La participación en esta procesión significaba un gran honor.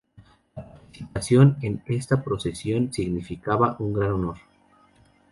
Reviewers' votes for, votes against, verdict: 0, 2, rejected